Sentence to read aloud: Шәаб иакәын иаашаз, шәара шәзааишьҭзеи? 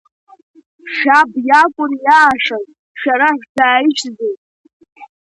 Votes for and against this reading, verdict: 2, 0, accepted